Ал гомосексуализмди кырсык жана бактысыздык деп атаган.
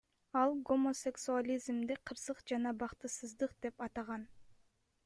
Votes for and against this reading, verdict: 1, 2, rejected